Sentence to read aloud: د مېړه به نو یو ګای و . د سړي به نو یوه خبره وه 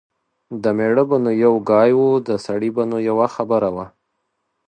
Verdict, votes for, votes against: accepted, 2, 0